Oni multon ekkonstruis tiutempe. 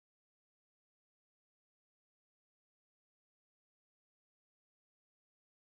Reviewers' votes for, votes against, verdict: 2, 0, accepted